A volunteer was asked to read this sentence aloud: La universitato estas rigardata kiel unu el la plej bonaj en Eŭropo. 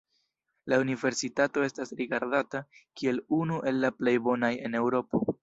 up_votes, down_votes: 1, 2